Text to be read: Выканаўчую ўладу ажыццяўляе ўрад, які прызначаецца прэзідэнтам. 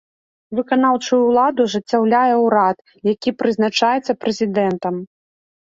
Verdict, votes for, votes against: accepted, 2, 0